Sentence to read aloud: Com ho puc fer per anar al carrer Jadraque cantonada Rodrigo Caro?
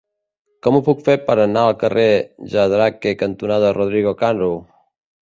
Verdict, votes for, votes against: rejected, 0, 2